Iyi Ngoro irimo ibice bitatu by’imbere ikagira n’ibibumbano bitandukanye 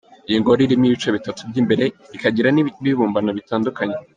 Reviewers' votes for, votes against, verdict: 0, 2, rejected